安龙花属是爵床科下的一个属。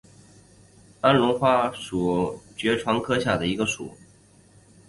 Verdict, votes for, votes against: accepted, 2, 1